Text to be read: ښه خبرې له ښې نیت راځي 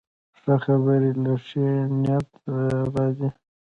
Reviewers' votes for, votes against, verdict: 2, 0, accepted